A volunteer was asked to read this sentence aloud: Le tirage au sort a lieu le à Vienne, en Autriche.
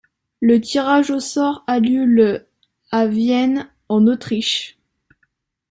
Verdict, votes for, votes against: accepted, 2, 0